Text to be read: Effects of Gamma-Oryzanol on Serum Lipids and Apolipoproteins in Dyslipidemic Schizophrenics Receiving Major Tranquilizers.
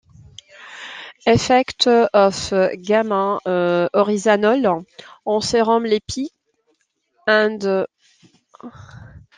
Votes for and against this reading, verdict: 0, 2, rejected